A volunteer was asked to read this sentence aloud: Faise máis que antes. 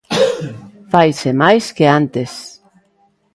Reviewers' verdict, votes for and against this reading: accepted, 2, 0